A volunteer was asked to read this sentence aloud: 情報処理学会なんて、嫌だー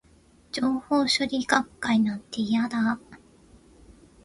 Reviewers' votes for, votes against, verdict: 2, 0, accepted